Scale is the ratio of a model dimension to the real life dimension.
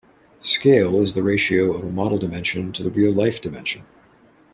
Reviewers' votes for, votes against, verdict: 2, 0, accepted